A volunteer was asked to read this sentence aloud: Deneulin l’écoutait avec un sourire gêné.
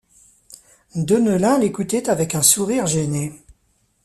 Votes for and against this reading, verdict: 2, 0, accepted